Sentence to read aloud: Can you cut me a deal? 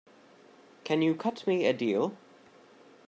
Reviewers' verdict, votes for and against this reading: accepted, 2, 0